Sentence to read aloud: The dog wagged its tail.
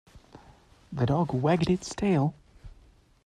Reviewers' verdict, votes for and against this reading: accepted, 2, 0